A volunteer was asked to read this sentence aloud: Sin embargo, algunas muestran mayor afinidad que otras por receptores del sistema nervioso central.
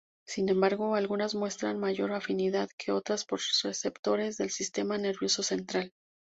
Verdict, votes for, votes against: accepted, 2, 0